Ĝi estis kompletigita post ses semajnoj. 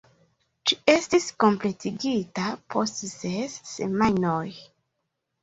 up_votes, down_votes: 2, 0